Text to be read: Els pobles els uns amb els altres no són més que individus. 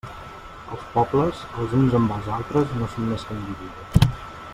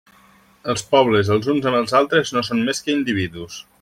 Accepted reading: second